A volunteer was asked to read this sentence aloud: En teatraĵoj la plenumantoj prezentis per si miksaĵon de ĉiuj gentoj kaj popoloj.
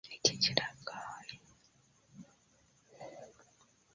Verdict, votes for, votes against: accepted, 2, 0